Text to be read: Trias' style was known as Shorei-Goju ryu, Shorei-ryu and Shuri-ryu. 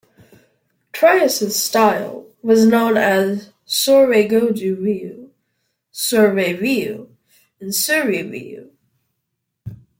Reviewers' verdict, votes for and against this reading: rejected, 1, 2